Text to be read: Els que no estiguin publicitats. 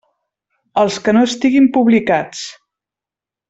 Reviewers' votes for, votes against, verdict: 0, 2, rejected